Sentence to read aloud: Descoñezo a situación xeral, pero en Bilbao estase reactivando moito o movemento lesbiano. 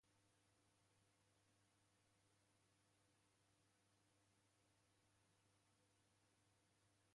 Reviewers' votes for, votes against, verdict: 0, 2, rejected